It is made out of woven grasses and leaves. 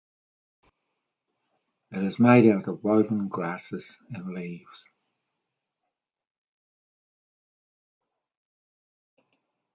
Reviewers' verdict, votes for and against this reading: rejected, 1, 2